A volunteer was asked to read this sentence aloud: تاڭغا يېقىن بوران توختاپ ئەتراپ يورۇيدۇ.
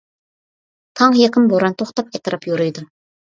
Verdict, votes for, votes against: accepted, 2, 0